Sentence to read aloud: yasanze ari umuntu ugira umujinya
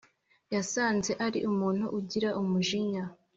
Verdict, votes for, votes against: accepted, 2, 0